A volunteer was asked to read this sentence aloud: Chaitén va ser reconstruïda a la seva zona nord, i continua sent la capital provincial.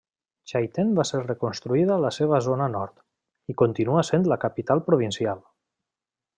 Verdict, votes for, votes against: accepted, 3, 0